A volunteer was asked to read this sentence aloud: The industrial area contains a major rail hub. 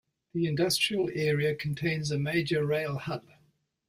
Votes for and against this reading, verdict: 2, 0, accepted